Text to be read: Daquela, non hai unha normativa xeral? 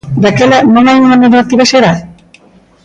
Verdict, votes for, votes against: accepted, 2, 1